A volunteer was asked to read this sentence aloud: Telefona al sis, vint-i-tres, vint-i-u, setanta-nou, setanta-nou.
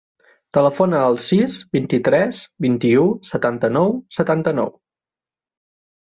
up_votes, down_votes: 3, 0